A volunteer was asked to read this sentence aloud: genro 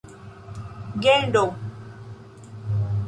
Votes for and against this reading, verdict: 0, 2, rejected